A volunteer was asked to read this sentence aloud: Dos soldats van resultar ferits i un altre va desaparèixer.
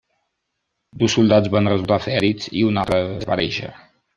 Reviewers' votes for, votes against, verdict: 1, 2, rejected